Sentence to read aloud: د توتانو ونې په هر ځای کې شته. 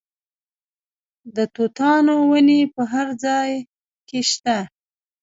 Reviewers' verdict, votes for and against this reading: rejected, 0, 2